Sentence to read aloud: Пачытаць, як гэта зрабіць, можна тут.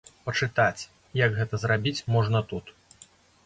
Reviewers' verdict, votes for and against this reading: accepted, 2, 0